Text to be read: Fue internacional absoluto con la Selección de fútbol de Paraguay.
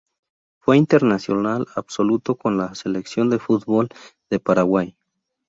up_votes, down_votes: 4, 0